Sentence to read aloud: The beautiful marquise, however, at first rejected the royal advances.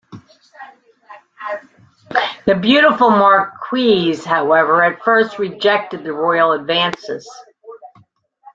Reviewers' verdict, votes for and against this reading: rejected, 1, 2